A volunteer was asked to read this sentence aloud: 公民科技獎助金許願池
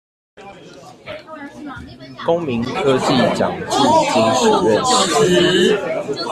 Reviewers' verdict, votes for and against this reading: rejected, 0, 2